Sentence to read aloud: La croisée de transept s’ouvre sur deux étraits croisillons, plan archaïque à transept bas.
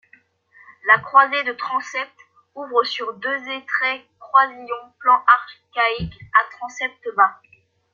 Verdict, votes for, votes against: rejected, 1, 2